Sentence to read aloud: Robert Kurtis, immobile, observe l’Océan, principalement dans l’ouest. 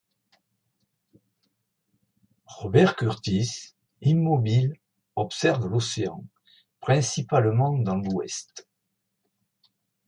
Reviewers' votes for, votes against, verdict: 2, 0, accepted